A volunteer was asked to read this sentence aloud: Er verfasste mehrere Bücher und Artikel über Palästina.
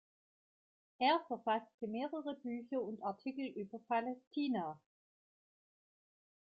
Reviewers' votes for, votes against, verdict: 2, 1, accepted